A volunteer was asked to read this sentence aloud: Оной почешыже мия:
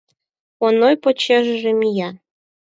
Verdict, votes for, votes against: accepted, 4, 0